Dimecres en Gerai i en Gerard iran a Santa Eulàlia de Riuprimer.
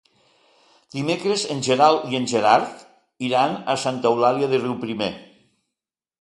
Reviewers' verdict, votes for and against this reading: rejected, 0, 2